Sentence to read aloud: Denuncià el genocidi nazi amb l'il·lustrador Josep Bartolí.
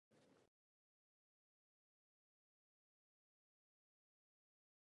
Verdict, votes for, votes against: rejected, 1, 2